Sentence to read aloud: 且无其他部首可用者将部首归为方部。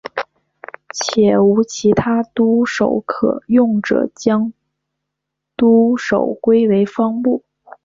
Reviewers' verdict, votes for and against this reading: rejected, 1, 4